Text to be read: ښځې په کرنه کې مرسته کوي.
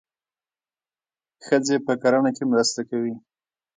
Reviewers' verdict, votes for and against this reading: rejected, 1, 2